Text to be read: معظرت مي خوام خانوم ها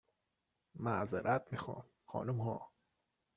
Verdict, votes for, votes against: accepted, 2, 0